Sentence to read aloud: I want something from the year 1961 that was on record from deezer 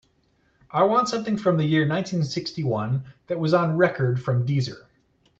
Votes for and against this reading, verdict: 0, 2, rejected